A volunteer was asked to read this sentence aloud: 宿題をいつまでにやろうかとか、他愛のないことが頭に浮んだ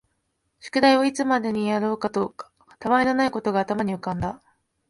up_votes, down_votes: 2, 1